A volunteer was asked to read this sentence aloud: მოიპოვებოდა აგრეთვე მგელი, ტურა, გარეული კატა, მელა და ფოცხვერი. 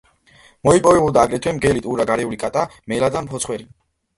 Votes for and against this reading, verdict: 1, 2, rejected